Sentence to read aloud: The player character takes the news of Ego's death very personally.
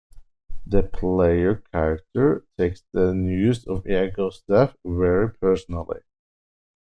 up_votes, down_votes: 1, 2